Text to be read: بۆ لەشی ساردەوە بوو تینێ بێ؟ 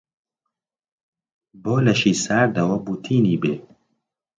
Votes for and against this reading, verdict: 2, 0, accepted